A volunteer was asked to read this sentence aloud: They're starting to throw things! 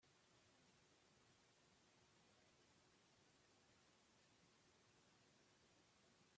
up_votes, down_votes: 0, 4